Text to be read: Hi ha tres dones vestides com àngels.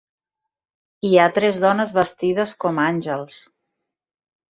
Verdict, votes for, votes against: accepted, 4, 0